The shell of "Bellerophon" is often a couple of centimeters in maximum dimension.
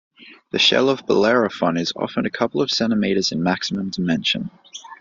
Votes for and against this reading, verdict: 2, 0, accepted